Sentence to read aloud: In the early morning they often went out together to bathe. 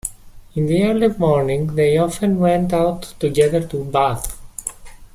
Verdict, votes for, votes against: rejected, 1, 2